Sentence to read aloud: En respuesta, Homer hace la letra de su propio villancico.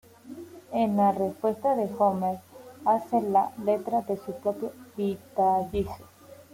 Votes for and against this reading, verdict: 0, 2, rejected